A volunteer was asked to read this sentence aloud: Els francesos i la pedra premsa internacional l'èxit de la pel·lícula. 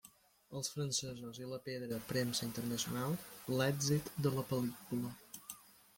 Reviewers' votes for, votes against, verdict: 1, 2, rejected